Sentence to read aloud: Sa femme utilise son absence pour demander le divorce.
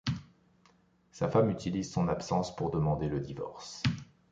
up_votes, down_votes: 2, 0